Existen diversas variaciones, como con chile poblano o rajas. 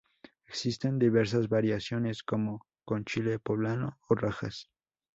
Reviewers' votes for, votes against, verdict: 2, 0, accepted